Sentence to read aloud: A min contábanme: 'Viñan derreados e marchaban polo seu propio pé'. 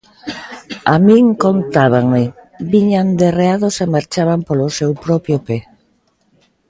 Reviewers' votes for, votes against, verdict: 2, 0, accepted